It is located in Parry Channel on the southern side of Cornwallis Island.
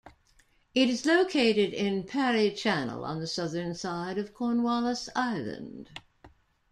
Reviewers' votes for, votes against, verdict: 0, 2, rejected